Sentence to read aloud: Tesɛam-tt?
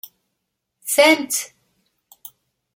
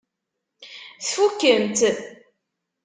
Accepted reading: first